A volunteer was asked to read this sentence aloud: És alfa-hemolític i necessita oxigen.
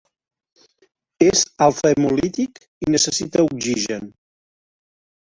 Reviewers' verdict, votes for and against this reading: accepted, 3, 2